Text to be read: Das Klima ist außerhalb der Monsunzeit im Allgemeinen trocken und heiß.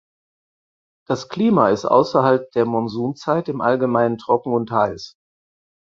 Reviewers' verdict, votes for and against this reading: accepted, 4, 0